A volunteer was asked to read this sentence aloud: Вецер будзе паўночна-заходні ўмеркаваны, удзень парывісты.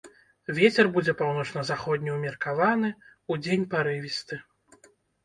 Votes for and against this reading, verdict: 2, 0, accepted